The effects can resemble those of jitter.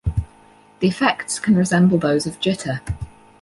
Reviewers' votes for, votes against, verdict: 4, 0, accepted